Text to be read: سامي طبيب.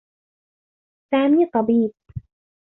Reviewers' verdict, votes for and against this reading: accepted, 2, 0